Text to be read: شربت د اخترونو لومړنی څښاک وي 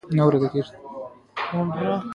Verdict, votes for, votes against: rejected, 1, 2